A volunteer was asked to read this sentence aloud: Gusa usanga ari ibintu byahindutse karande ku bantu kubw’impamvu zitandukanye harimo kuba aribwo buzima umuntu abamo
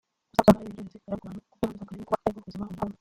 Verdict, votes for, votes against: rejected, 0, 2